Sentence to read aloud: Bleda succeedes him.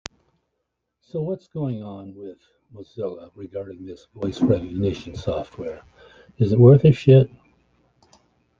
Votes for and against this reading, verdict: 0, 2, rejected